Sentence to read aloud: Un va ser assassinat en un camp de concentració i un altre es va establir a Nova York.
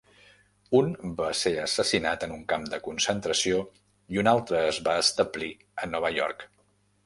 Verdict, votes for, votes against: accepted, 2, 0